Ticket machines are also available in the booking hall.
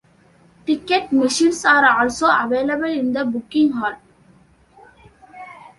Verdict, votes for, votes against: accepted, 2, 0